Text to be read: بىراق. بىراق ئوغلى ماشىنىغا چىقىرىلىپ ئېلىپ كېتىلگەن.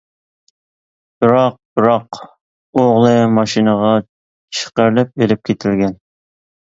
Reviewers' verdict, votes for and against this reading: accepted, 2, 1